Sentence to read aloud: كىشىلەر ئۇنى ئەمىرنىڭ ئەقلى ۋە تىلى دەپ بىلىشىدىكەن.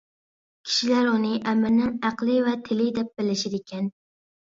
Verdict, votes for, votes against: accepted, 2, 1